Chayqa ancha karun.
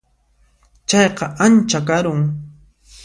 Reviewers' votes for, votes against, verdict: 2, 0, accepted